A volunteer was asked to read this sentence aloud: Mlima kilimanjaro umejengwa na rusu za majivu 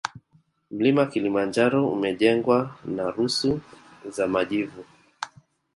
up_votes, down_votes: 2, 0